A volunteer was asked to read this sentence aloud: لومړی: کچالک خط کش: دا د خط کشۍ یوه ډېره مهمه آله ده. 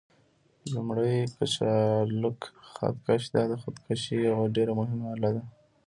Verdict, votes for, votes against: accepted, 2, 0